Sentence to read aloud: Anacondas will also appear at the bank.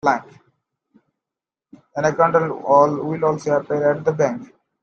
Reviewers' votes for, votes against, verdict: 1, 2, rejected